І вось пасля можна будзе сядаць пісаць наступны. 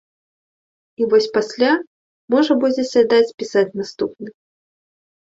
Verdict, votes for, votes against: rejected, 1, 2